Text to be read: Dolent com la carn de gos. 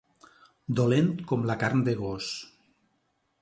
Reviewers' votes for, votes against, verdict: 2, 0, accepted